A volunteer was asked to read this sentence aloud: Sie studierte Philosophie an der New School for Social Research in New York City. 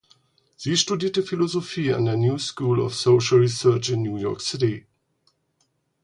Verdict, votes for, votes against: rejected, 0, 4